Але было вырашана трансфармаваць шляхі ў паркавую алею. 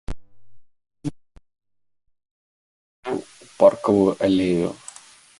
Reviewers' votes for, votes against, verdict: 1, 2, rejected